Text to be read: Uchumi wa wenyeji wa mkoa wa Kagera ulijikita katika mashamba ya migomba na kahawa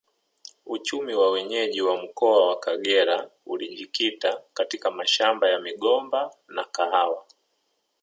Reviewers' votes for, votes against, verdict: 2, 1, accepted